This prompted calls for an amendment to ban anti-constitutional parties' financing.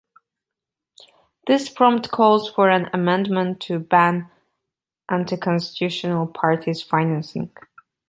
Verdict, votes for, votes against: rejected, 1, 2